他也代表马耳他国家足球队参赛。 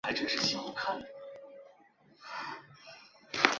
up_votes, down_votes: 0, 2